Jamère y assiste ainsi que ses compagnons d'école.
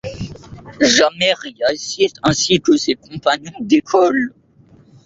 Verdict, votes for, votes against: rejected, 0, 2